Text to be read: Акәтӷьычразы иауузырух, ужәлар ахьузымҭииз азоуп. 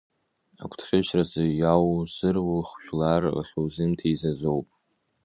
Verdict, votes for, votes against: rejected, 0, 2